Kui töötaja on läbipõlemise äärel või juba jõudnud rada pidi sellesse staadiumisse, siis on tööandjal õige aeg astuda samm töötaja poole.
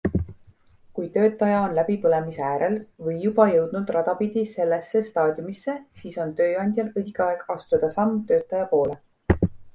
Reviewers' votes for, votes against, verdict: 2, 0, accepted